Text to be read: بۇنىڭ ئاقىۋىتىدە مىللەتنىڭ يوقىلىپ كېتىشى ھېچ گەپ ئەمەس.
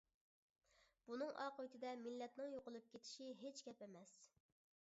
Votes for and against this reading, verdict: 3, 0, accepted